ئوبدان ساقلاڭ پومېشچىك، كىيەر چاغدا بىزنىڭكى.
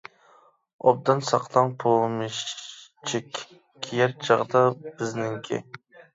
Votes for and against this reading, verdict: 0, 2, rejected